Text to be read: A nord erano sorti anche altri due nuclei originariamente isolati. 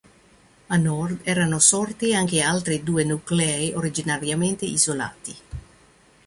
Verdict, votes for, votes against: rejected, 0, 2